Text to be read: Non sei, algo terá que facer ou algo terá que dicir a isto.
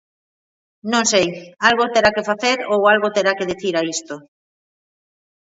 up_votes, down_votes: 1, 2